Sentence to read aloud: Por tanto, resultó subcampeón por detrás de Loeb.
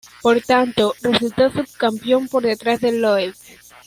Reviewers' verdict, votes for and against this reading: rejected, 1, 2